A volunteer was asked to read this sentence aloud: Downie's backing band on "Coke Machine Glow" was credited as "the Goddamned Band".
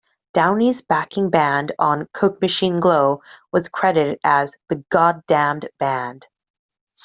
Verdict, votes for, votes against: accepted, 2, 0